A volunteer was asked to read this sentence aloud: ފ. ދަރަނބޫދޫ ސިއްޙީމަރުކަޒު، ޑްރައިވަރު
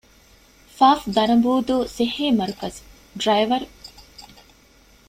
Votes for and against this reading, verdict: 0, 2, rejected